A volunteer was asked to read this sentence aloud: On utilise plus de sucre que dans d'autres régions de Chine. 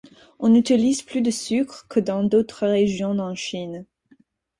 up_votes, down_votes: 0, 4